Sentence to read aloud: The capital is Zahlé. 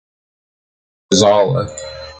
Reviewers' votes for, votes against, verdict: 1, 2, rejected